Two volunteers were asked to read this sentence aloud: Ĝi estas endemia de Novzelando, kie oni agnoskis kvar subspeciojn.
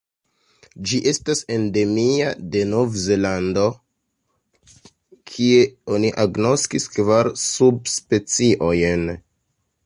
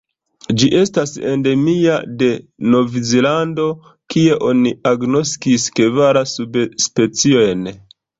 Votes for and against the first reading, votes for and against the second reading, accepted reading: 2, 1, 1, 2, first